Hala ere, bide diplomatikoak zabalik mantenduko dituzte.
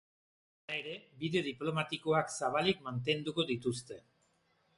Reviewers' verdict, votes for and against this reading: rejected, 1, 2